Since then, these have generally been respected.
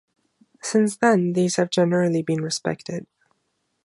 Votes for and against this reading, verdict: 2, 0, accepted